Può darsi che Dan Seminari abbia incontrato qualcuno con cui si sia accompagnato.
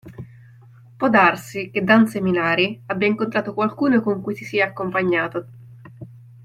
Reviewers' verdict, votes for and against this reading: accepted, 2, 0